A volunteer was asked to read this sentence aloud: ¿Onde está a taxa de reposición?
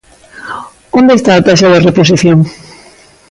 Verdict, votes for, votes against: accepted, 2, 0